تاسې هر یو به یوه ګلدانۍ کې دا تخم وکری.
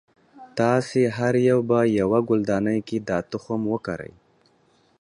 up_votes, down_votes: 2, 0